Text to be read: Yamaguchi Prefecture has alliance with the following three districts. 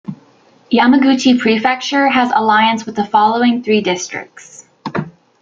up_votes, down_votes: 2, 0